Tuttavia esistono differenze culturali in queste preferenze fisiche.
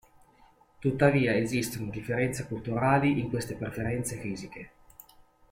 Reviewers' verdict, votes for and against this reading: accepted, 2, 0